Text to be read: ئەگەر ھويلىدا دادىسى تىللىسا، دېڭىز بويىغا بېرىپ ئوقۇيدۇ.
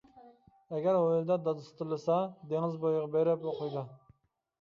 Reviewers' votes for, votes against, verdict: 1, 2, rejected